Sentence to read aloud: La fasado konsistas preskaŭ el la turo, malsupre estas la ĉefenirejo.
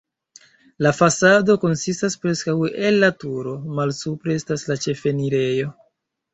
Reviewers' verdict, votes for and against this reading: accepted, 2, 0